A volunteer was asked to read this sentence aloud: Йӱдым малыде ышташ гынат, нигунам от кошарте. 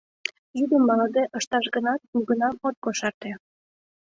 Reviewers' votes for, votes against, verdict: 2, 0, accepted